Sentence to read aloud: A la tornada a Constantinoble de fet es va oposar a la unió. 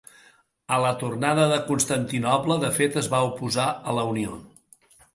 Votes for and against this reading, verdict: 1, 2, rejected